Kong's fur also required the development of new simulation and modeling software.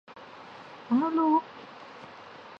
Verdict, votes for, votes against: rejected, 0, 2